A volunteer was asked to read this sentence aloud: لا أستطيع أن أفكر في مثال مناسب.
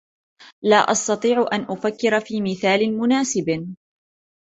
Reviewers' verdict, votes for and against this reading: accepted, 2, 0